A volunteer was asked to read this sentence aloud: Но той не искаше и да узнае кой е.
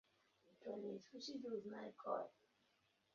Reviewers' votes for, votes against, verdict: 0, 2, rejected